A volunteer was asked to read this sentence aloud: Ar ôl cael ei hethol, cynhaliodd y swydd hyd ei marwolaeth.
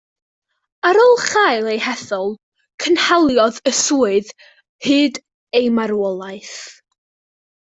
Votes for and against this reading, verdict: 0, 2, rejected